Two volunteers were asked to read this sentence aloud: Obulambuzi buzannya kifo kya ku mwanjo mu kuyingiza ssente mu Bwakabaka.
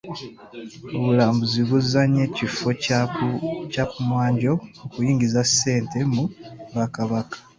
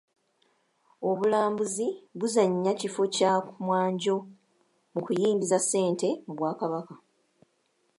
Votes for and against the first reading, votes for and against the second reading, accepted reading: 0, 2, 3, 0, second